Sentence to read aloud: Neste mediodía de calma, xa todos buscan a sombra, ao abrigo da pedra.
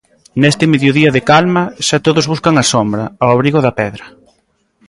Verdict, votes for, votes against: accepted, 2, 0